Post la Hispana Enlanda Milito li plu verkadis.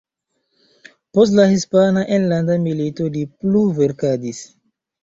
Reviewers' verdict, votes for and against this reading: rejected, 0, 2